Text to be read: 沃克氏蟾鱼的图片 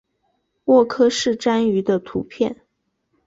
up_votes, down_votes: 1, 2